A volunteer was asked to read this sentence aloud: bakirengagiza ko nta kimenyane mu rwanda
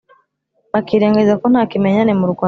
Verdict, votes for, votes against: rejected, 0, 2